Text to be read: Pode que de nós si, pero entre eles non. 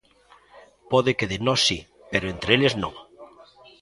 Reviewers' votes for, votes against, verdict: 1, 2, rejected